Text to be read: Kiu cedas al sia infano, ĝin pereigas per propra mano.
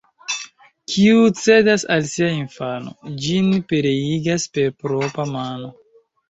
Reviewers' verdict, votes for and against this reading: accepted, 2, 0